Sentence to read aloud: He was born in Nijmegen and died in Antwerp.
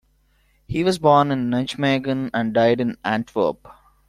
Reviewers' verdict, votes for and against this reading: accepted, 2, 0